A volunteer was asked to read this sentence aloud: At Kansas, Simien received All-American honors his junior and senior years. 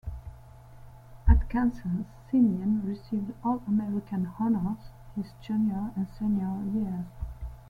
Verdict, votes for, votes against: accepted, 2, 1